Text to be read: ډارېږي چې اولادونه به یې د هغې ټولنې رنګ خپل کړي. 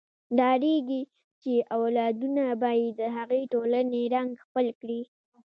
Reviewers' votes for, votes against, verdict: 2, 0, accepted